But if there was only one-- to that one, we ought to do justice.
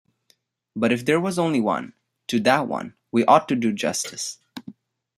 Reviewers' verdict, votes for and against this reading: accepted, 2, 0